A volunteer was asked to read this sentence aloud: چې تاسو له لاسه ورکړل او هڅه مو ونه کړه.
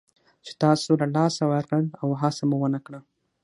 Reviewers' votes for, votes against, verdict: 6, 3, accepted